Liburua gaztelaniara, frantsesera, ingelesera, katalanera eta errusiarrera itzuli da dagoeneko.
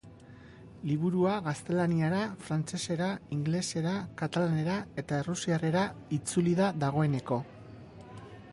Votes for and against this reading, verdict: 1, 2, rejected